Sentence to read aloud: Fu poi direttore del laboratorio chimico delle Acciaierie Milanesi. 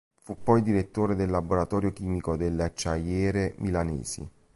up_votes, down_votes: 0, 2